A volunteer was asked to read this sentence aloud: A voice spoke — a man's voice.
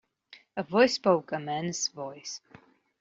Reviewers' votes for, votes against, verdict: 1, 2, rejected